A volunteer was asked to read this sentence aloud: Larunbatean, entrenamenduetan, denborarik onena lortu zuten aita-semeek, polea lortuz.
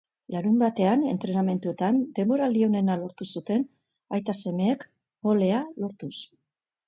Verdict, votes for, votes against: rejected, 2, 3